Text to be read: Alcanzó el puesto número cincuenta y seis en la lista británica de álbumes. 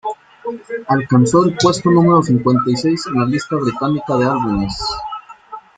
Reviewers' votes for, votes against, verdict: 0, 2, rejected